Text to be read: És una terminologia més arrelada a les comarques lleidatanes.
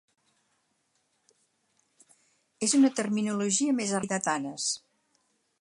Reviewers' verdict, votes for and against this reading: rejected, 0, 4